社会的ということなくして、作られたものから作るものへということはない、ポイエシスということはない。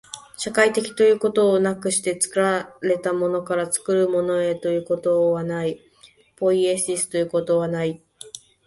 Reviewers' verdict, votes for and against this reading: rejected, 0, 2